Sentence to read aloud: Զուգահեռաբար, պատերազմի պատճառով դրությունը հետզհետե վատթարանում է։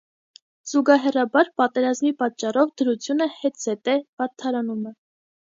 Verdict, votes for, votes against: accepted, 2, 0